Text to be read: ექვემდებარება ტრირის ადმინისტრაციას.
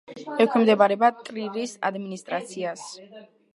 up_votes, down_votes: 2, 0